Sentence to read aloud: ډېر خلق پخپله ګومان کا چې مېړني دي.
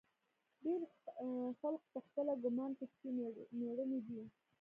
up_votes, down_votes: 2, 1